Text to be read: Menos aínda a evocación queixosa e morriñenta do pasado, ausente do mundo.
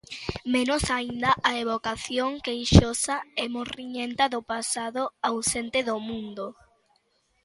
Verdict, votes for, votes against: accepted, 2, 0